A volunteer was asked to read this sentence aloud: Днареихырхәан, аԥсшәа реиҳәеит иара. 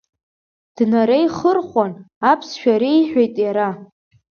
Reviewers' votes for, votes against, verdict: 2, 0, accepted